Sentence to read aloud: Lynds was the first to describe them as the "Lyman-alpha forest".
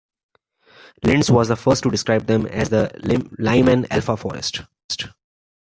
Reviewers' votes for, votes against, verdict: 1, 2, rejected